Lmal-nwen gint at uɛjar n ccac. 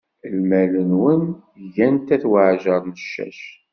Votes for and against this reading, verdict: 1, 2, rejected